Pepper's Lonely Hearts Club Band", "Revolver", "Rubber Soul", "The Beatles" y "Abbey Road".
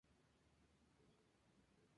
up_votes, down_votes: 2, 6